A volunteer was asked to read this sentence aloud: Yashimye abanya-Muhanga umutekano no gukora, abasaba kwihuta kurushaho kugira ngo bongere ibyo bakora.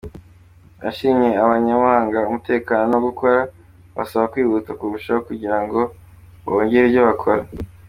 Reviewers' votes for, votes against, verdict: 2, 0, accepted